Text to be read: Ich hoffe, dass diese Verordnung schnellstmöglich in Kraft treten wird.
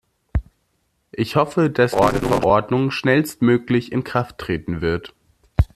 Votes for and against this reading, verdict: 0, 2, rejected